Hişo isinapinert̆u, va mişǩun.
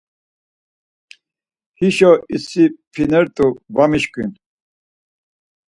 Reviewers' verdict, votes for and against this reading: rejected, 2, 4